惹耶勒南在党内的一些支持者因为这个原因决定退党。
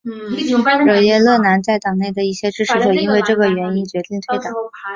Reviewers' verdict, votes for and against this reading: accepted, 2, 0